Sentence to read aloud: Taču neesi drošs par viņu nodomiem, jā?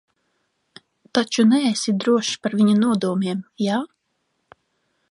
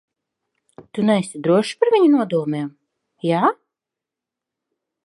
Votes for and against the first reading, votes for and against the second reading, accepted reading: 2, 0, 0, 2, first